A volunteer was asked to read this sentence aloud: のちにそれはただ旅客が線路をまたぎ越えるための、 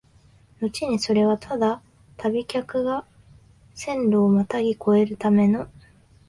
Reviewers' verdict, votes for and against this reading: rejected, 0, 4